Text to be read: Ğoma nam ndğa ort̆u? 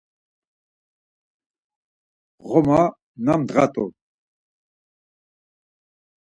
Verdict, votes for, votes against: rejected, 0, 4